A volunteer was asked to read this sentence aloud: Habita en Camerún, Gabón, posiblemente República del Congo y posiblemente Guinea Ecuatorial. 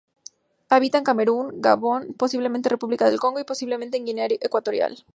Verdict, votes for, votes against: accepted, 2, 0